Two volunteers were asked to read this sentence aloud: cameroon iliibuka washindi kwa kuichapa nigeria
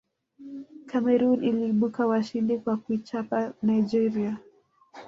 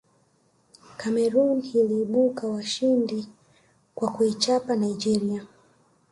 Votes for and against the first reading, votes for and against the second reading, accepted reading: 2, 1, 1, 2, first